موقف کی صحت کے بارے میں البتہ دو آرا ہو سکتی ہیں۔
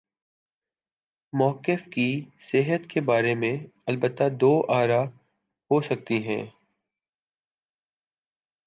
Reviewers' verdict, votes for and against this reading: accepted, 4, 0